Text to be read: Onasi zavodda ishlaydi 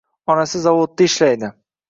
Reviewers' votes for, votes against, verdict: 2, 0, accepted